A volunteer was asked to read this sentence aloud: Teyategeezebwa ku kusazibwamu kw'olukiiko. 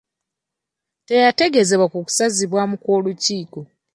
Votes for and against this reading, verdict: 2, 1, accepted